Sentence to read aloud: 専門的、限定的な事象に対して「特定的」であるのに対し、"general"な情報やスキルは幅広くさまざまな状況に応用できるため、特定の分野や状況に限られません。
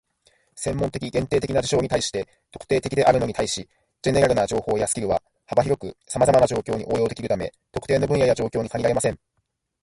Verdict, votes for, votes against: rejected, 0, 2